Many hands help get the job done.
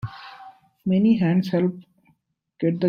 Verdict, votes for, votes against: rejected, 0, 2